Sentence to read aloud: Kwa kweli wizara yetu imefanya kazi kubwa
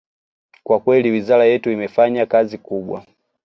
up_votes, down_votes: 2, 0